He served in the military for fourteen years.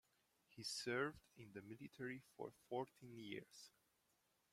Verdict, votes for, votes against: rejected, 1, 2